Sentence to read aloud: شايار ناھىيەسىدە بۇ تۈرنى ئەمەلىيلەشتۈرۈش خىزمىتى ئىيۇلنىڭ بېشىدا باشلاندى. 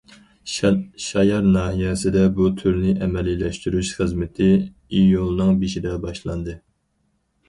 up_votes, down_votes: 2, 4